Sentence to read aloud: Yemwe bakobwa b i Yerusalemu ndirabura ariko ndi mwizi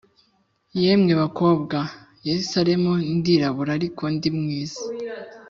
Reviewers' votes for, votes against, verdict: 2, 0, accepted